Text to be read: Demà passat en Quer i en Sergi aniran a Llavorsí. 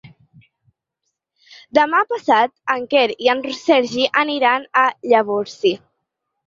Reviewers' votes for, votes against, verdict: 0, 4, rejected